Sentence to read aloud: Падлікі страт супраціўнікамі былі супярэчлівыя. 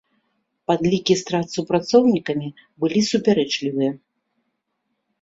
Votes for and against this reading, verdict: 2, 0, accepted